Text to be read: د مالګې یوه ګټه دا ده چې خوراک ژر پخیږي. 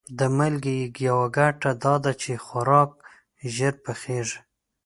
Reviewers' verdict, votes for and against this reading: rejected, 0, 2